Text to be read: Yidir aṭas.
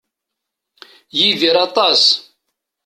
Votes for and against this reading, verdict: 2, 0, accepted